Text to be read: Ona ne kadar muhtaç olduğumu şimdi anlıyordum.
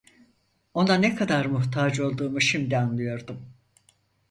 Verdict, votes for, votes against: accepted, 4, 0